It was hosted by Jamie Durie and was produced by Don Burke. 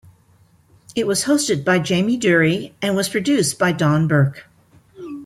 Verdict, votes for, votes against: rejected, 0, 2